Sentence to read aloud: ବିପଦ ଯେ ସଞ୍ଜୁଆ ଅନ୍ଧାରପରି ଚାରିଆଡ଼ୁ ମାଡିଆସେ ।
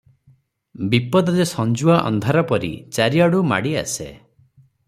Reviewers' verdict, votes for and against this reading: accepted, 3, 0